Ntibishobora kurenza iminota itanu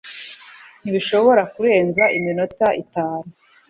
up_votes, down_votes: 3, 0